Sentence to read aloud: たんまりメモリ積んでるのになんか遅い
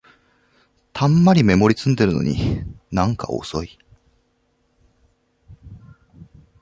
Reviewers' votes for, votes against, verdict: 1, 2, rejected